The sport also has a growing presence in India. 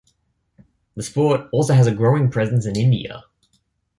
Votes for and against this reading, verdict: 2, 0, accepted